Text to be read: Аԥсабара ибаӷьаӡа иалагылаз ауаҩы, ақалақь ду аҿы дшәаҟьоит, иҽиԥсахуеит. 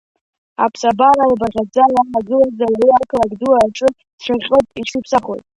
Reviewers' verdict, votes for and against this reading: rejected, 1, 2